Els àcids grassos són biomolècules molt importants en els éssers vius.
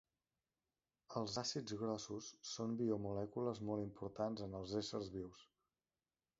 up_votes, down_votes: 0, 2